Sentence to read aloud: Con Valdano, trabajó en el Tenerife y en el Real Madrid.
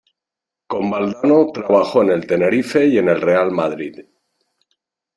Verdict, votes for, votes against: accepted, 2, 0